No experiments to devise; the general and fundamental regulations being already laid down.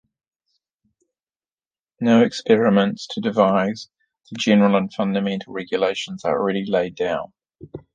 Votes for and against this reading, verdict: 1, 2, rejected